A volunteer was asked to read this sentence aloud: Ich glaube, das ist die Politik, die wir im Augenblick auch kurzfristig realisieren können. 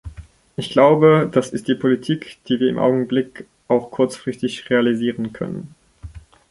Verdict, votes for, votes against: rejected, 0, 2